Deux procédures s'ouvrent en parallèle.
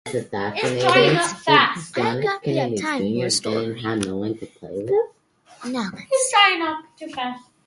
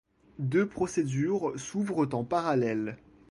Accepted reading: second